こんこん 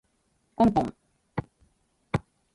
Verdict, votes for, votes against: rejected, 1, 2